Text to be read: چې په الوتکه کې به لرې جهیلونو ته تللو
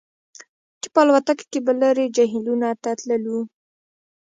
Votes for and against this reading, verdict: 1, 2, rejected